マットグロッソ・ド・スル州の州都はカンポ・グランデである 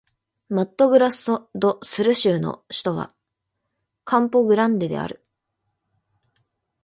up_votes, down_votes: 0, 2